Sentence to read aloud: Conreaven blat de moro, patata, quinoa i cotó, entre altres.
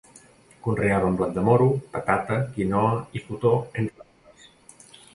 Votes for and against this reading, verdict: 1, 2, rejected